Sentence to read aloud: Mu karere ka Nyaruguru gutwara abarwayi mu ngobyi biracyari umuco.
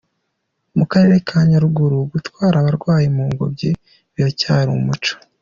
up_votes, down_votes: 2, 0